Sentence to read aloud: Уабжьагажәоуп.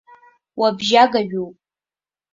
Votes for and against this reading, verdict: 2, 1, accepted